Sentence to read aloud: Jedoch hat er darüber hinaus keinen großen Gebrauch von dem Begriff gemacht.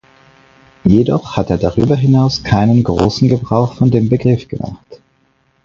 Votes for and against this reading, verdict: 4, 0, accepted